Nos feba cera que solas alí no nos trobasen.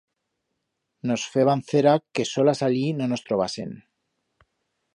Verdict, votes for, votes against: rejected, 1, 2